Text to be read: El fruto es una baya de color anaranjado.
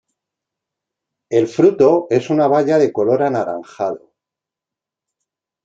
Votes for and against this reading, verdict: 2, 0, accepted